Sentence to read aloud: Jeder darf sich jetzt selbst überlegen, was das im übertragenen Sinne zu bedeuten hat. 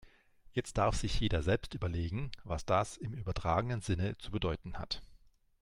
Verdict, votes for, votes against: rejected, 3, 4